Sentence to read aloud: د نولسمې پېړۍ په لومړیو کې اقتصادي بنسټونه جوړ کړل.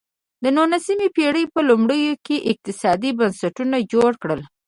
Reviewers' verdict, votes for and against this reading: rejected, 1, 2